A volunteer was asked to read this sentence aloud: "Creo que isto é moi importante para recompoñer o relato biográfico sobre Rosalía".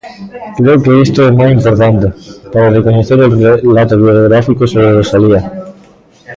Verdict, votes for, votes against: rejected, 0, 2